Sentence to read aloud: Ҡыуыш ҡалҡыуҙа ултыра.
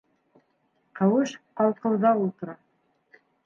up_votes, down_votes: 1, 3